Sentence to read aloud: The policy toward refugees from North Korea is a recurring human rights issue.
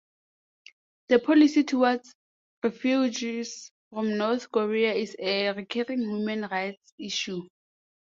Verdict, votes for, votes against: accepted, 2, 0